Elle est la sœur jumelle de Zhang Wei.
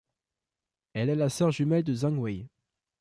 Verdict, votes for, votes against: accepted, 2, 0